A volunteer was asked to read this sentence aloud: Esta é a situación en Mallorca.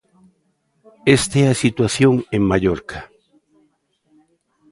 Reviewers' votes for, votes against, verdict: 1, 2, rejected